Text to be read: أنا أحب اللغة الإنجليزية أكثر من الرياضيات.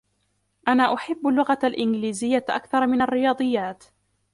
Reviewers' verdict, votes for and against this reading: rejected, 1, 2